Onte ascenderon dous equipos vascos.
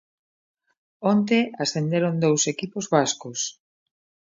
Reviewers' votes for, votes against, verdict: 2, 0, accepted